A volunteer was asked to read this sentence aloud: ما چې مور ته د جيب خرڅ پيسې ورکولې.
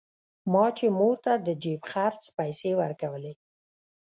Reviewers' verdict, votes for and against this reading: rejected, 1, 2